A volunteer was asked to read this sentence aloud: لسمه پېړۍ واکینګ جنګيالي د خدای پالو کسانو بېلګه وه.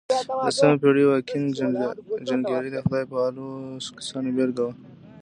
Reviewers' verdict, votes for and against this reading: accepted, 2, 1